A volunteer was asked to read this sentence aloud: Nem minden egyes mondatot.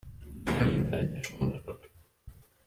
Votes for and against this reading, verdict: 0, 2, rejected